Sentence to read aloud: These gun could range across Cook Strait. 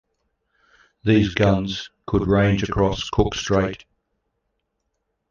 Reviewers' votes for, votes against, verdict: 0, 2, rejected